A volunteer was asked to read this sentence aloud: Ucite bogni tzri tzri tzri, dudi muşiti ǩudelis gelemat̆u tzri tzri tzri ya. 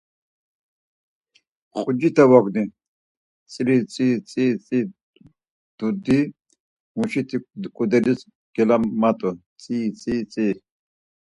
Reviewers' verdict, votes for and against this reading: rejected, 0, 4